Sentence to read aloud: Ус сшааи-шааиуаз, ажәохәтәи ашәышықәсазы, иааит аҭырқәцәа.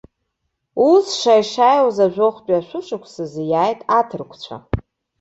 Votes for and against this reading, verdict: 2, 0, accepted